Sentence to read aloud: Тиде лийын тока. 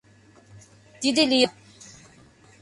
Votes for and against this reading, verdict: 0, 2, rejected